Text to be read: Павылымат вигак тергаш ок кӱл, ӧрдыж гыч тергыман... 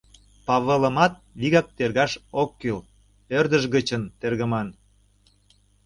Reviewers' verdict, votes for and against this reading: rejected, 1, 2